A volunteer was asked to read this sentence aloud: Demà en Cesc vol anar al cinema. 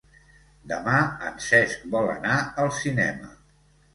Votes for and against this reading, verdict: 2, 0, accepted